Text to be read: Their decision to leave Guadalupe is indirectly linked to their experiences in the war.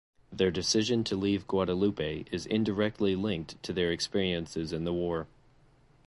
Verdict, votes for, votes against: accepted, 2, 0